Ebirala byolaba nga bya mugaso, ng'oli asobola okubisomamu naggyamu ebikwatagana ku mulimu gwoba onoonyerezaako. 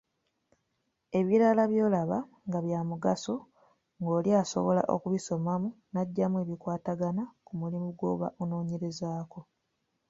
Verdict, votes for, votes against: accepted, 2, 1